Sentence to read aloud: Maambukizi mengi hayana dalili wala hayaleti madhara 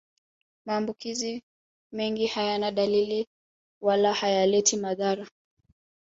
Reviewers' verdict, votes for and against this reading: accepted, 2, 1